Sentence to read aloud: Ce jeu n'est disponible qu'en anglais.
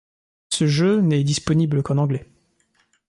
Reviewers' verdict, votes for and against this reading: rejected, 1, 2